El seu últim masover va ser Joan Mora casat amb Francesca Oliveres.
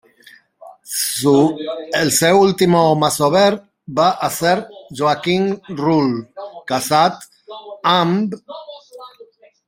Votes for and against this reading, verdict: 0, 2, rejected